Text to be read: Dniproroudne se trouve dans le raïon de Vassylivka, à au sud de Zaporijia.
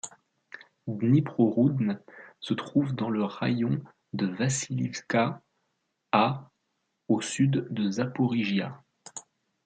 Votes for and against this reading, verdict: 1, 2, rejected